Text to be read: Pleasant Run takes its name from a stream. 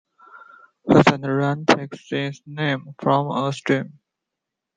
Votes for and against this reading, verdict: 2, 0, accepted